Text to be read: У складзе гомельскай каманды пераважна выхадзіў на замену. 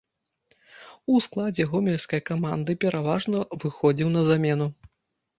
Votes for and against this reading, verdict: 0, 2, rejected